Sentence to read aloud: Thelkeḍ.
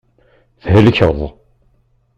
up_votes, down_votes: 2, 0